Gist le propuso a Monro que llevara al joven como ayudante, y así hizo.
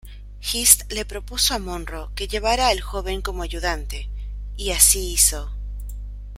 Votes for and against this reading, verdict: 2, 0, accepted